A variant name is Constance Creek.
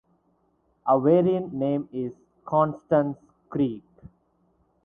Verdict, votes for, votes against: rejected, 2, 2